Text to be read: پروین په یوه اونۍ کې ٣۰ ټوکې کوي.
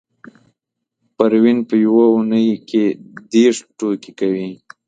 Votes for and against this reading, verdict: 0, 2, rejected